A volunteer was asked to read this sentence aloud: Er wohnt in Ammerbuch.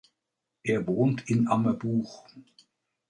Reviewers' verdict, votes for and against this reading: accepted, 2, 0